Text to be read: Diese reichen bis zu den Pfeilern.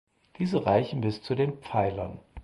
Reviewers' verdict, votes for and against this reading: accepted, 4, 0